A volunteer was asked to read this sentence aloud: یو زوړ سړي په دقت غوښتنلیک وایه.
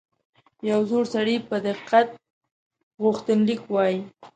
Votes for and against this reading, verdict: 0, 2, rejected